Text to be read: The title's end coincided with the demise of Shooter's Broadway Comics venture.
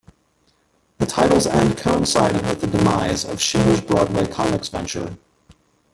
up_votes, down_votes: 1, 2